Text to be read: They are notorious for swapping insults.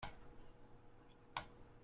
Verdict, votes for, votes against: rejected, 0, 2